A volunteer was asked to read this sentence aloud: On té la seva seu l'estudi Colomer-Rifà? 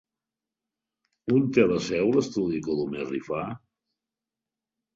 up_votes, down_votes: 2, 6